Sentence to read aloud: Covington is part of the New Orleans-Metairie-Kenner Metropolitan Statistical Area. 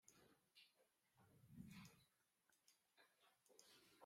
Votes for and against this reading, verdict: 0, 2, rejected